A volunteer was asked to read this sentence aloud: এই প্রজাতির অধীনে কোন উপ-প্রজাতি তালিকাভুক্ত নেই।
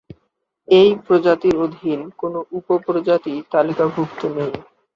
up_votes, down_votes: 0, 2